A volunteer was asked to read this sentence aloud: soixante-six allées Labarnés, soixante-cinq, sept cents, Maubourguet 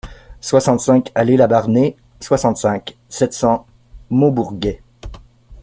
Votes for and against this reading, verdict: 1, 2, rejected